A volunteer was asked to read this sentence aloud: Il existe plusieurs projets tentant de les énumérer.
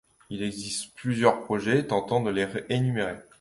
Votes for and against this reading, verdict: 2, 0, accepted